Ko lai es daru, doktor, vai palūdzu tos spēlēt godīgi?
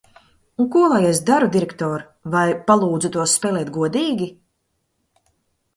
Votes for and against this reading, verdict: 0, 2, rejected